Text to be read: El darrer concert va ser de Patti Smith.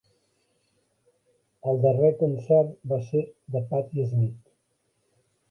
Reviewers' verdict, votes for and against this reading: rejected, 1, 3